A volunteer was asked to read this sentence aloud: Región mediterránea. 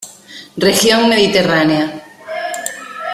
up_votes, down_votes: 0, 2